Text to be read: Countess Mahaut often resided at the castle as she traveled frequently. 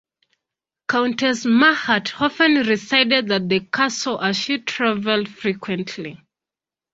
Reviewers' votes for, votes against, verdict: 2, 1, accepted